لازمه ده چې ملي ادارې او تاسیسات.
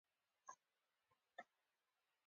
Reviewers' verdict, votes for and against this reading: rejected, 1, 2